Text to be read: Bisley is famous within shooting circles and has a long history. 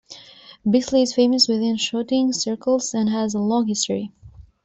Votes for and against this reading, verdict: 2, 0, accepted